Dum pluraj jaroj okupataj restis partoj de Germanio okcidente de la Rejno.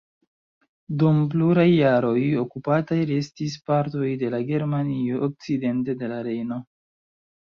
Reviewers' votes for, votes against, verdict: 2, 0, accepted